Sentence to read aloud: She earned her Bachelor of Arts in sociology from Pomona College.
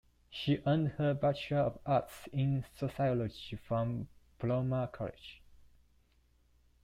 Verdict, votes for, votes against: rejected, 0, 2